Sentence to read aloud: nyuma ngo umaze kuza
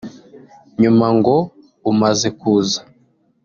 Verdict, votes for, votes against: accepted, 2, 0